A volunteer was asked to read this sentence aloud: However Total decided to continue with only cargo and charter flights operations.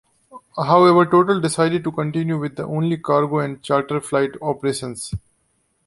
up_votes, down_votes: 1, 2